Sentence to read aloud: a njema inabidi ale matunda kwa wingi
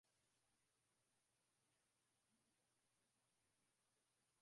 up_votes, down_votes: 0, 2